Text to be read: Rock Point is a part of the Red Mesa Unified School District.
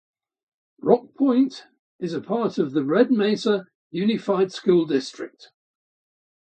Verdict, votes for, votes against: rejected, 2, 2